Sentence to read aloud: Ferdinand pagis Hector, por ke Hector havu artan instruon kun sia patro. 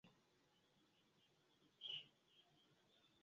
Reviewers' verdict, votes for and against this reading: rejected, 1, 2